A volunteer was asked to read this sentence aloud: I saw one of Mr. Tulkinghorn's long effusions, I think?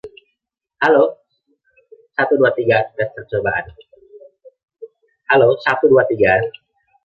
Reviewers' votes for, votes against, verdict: 0, 2, rejected